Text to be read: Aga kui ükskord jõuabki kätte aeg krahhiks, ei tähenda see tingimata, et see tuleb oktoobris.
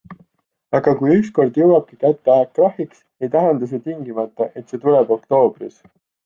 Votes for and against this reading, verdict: 2, 0, accepted